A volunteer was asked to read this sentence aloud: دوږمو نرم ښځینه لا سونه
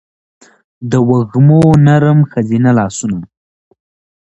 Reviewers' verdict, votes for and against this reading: accepted, 2, 0